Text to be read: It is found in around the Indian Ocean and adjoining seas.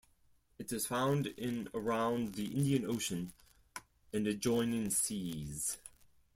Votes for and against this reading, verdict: 2, 4, rejected